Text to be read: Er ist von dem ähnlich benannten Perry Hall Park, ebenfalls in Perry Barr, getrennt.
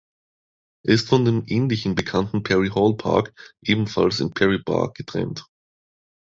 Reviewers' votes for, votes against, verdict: 2, 3, rejected